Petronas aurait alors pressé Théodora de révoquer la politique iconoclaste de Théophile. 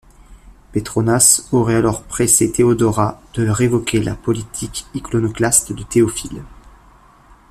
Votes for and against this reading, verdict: 2, 0, accepted